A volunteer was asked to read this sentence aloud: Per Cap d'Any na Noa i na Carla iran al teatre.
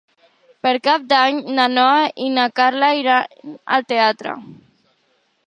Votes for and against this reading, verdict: 0, 3, rejected